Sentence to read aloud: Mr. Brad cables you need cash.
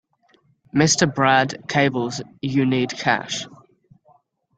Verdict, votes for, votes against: accepted, 2, 0